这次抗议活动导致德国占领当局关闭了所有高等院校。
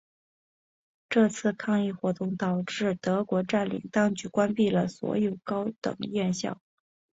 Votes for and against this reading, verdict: 2, 0, accepted